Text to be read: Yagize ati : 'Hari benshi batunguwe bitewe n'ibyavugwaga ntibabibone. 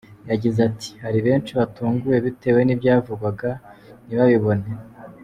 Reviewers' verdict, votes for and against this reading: accepted, 2, 1